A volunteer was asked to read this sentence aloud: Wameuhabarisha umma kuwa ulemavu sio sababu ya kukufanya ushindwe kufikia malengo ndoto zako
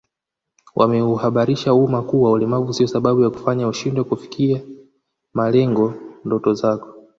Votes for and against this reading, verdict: 2, 1, accepted